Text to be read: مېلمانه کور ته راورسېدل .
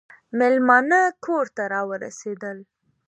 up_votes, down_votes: 2, 0